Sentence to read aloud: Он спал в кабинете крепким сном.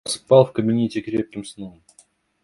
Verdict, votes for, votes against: rejected, 0, 2